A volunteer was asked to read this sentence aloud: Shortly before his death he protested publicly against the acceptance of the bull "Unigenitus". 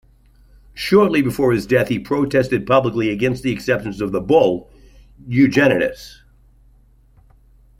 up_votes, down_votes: 2, 0